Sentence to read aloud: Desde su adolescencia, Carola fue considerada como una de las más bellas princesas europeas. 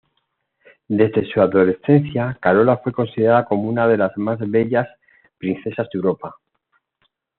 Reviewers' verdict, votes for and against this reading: rejected, 1, 2